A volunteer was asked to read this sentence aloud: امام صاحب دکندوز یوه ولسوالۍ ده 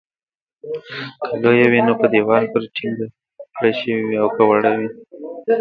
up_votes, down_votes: 0, 2